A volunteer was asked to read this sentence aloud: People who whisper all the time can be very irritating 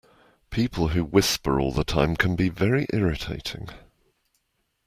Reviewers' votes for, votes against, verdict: 2, 0, accepted